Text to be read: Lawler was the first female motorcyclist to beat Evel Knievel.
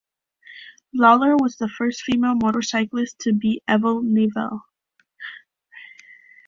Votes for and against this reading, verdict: 2, 1, accepted